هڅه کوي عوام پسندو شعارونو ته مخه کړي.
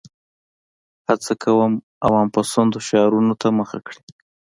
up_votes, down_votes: 2, 0